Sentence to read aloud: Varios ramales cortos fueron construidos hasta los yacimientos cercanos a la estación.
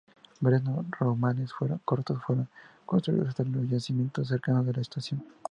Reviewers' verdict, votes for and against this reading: rejected, 0, 2